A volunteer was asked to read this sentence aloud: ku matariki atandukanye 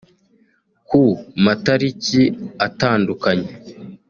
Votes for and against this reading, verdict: 2, 0, accepted